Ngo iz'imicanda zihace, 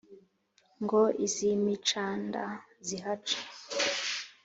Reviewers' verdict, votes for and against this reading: accepted, 2, 0